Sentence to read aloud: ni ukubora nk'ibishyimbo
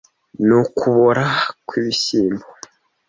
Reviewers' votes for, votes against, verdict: 1, 2, rejected